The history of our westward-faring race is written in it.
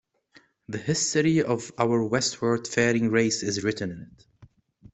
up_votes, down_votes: 2, 0